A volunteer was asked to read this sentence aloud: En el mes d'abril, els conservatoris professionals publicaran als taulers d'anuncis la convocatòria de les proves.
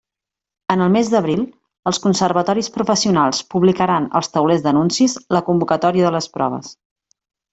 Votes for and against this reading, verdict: 3, 0, accepted